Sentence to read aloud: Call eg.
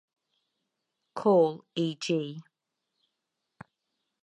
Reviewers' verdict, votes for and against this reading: rejected, 2, 2